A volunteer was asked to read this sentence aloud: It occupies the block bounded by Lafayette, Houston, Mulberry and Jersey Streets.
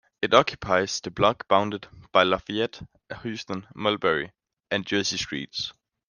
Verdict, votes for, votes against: accepted, 2, 0